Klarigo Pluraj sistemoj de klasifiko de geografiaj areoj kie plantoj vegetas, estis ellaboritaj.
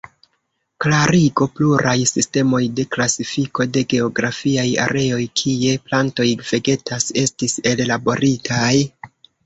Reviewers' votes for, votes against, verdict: 1, 2, rejected